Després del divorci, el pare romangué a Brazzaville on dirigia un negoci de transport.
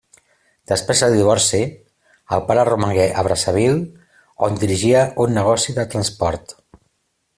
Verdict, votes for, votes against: accepted, 2, 0